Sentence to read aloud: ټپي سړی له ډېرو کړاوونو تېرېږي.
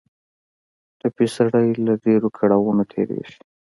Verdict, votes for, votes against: accepted, 2, 1